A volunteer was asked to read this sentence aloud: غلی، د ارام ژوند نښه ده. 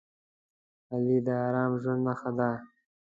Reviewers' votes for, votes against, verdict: 2, 1, accepted